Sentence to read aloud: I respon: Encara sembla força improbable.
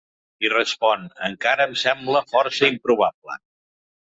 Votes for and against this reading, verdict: 2, 3, rejected